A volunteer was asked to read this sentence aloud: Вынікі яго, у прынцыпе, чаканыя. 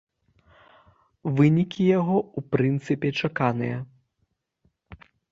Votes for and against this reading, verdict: 3, 0, accepted